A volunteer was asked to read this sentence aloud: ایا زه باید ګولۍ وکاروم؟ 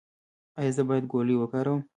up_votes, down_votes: 0, 2